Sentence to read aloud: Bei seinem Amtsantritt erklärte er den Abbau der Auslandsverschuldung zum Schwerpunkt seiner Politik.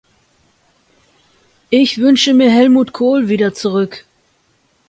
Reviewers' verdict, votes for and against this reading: rejected, 0, 2